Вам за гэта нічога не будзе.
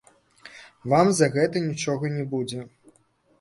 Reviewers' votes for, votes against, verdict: 1, 2, rejected